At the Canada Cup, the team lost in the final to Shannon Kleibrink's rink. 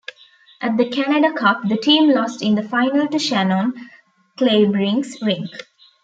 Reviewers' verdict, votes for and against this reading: rejected, 1, 2